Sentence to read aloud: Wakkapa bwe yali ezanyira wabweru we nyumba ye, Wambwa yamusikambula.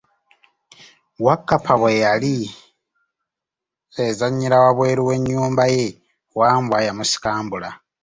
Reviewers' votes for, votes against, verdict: 1, 2, rejected